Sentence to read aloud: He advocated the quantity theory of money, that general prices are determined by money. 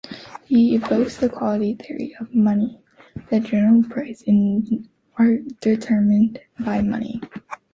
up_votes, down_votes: 2, 3